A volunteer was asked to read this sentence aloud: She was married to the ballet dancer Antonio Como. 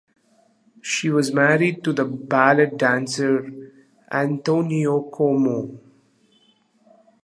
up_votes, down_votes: 2, 1